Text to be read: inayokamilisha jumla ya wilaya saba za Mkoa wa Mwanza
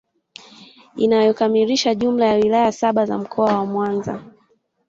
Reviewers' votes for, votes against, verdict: 2, 0, accepted